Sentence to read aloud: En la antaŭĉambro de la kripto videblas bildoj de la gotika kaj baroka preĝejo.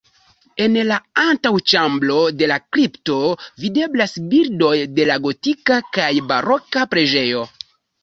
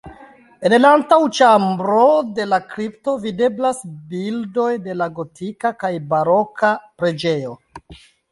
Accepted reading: second